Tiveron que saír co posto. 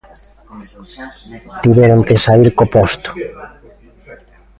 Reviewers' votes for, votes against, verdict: 0, 2, rejected